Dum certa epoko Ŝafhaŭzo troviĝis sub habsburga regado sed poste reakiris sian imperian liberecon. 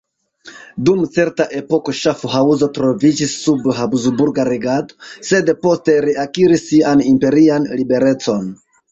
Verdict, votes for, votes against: rejected, 1, 2